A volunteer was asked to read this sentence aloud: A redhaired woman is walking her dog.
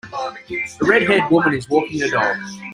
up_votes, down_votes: 1, 2